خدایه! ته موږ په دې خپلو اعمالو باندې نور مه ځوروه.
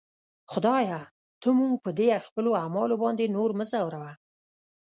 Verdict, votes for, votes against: rejected, 0, 2